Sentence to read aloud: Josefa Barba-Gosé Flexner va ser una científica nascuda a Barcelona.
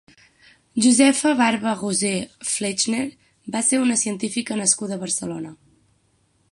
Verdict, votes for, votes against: accepted, 6, 0